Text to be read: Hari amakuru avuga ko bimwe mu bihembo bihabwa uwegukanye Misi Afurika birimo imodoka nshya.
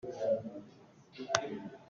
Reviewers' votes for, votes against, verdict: 0, 2, rejected